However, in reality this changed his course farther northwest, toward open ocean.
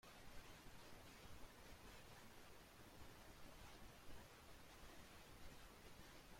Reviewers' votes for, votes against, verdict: 0, 2, rejected